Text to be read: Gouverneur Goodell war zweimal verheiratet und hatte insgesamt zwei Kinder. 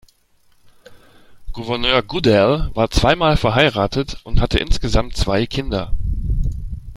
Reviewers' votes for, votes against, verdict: 2, 0, accepted